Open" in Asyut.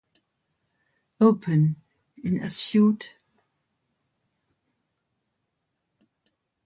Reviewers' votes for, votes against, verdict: 2, 1, accepted